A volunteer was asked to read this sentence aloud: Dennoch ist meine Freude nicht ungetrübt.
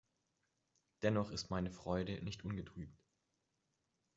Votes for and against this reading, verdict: 1, 2, rejected